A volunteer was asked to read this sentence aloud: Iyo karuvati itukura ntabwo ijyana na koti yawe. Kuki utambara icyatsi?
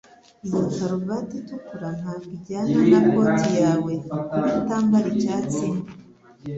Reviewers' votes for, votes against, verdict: 2, 0, accepted